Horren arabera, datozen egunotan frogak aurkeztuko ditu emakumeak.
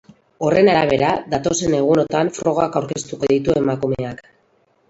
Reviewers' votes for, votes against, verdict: 2, 2, rejected